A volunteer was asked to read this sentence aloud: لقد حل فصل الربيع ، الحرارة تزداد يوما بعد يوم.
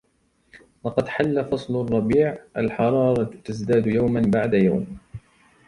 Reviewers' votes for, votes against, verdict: 2, 1, accepted